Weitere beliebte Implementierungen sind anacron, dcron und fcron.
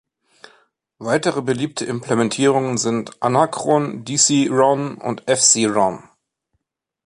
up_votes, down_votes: 0, 2